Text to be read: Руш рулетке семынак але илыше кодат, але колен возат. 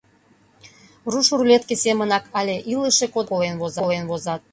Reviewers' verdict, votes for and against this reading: rejected, 0, 2